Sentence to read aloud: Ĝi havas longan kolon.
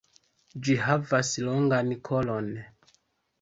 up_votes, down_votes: 2, 0